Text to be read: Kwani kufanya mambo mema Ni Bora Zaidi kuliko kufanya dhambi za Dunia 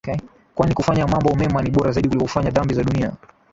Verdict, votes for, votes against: rejected, 2, 2